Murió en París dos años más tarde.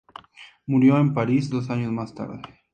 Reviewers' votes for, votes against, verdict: 2, 0, accepted